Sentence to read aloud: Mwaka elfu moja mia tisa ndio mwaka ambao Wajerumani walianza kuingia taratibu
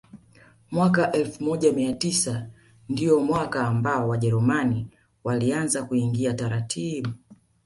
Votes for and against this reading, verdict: 2, 0, accepted